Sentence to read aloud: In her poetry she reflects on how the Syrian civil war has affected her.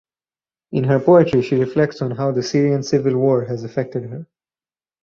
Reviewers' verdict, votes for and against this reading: accepted, 4, 2